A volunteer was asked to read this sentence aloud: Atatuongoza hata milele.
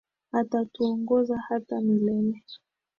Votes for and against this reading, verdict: 3, 4, rejected